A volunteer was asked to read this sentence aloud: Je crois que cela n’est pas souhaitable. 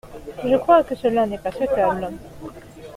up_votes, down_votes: 2, 0